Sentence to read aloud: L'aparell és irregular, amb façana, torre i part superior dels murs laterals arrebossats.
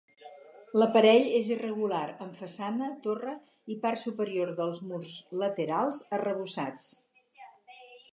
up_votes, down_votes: 2, 0